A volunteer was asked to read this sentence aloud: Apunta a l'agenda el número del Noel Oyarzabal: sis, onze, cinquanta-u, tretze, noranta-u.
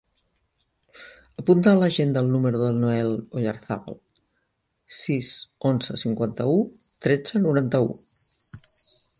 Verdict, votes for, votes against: accepted, 2, 0